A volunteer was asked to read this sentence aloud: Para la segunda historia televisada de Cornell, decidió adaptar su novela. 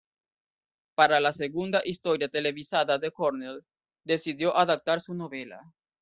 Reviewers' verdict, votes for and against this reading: rejected, 0, 2